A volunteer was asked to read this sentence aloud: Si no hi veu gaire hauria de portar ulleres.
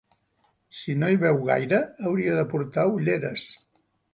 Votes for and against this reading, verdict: 3, 0, accepted